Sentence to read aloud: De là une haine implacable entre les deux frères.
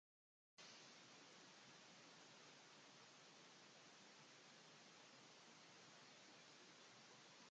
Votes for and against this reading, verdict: 0, 2, rejected